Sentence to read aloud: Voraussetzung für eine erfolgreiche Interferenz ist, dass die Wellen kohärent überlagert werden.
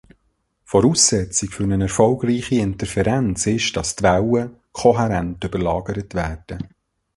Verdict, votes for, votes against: rejected, 0, 2